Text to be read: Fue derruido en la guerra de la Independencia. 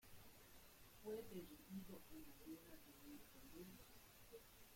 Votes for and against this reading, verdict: 0, 2, rejected